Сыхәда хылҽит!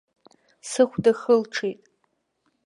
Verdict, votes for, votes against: accepted, 2, 0